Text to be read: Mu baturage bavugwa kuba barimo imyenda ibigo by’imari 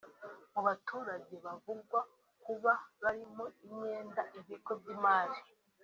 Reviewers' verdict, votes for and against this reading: rejected, 0, 2